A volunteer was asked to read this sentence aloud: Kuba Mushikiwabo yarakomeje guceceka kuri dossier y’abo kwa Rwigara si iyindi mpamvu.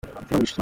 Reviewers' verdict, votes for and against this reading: rejected, 0, 2